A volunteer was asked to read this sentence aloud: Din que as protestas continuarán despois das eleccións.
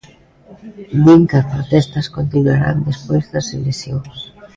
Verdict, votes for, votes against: accepted, 2, 0